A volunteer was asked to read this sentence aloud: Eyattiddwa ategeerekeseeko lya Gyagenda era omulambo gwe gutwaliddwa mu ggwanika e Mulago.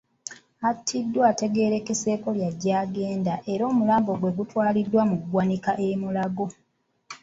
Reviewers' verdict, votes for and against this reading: accepted, 2, 1